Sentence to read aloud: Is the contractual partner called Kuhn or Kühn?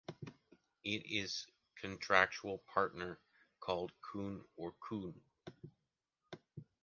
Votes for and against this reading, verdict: 1, 2, rejected